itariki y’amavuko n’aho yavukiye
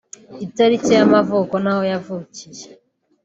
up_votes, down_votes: 0, 2